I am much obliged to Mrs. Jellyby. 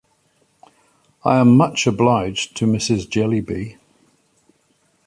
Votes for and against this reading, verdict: 2, 0, accepted